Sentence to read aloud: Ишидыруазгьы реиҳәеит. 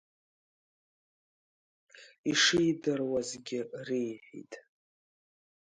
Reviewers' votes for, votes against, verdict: 1, 2, rejected